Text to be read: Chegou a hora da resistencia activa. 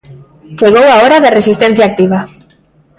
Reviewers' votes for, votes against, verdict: 2, 0, accepted